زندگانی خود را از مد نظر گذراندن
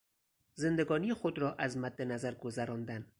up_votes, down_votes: 4, 0